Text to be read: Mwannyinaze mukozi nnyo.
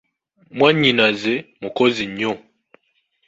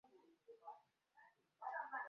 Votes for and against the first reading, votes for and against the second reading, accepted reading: 2, 0, 0, 2, first